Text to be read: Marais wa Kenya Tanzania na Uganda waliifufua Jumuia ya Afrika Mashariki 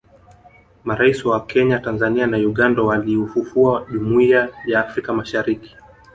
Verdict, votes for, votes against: rejected, 0, 2